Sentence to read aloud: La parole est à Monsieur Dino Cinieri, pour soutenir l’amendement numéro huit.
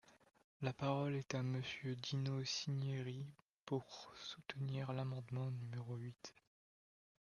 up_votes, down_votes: 1, 2